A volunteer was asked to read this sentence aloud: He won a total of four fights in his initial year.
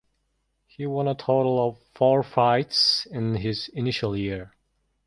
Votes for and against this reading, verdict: 2, 0, accepted